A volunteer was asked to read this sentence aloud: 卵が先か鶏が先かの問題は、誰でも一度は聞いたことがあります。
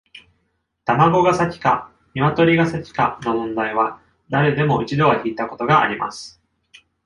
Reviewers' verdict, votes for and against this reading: accepted, 2, 0